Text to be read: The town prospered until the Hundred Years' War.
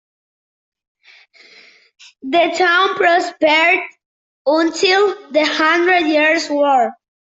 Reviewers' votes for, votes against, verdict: 2, 0, accepted